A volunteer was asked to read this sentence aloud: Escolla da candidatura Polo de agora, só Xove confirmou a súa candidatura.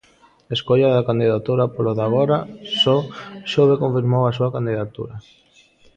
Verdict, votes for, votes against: accepted, 2, 0